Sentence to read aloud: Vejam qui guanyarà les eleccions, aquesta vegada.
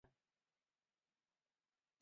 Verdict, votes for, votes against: rejected, 1, 2